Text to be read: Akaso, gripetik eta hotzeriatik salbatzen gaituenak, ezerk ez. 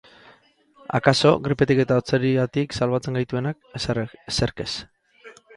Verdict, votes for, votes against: rejected, 2, 2